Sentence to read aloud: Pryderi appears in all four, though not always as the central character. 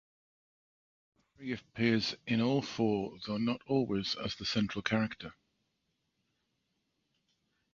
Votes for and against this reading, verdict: 1, 2, rejected